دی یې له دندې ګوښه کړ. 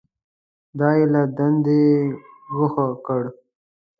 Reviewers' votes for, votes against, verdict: 2, 0, accepted